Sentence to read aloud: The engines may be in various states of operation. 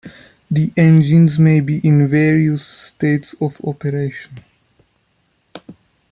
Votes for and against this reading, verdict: 2, 0, accepted